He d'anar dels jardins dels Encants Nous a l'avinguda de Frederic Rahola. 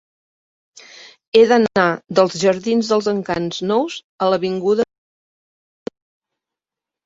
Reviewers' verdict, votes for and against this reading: rejected, 0, 2